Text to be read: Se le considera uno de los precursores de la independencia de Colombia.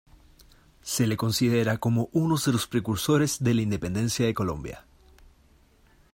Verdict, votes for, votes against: rejected, 0, 2